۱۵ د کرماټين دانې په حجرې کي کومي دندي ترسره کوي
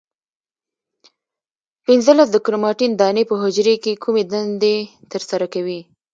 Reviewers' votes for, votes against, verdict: 0, 2, rejected